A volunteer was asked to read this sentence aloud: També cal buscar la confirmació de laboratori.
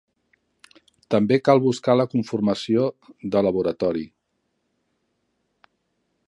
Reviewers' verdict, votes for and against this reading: rejected, 0, 2